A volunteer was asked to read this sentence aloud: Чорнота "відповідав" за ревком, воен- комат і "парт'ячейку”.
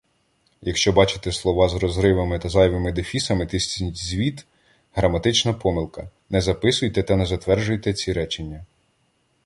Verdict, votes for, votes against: rejected, 0, 2